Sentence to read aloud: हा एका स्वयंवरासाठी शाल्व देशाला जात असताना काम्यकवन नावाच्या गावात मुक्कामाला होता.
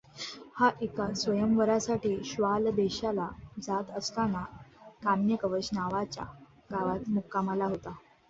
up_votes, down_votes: 1, 2